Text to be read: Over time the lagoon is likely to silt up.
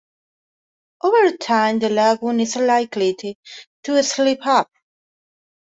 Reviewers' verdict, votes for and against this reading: rejected, 0, 2